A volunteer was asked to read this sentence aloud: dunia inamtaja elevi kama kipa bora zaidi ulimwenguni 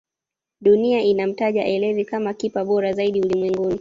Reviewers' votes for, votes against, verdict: 2, 1, accepted